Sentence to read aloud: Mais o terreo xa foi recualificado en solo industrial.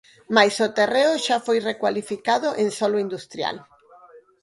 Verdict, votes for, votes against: accepted, 4, 0